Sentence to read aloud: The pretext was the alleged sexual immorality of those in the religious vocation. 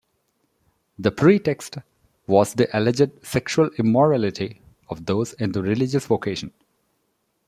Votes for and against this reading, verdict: 2, 0, accepted